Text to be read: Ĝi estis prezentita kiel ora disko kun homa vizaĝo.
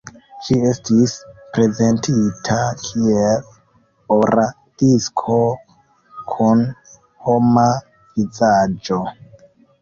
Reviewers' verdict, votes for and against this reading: rejected, 0, 2